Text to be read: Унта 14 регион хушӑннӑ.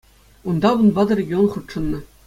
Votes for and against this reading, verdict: 0, 2, rejected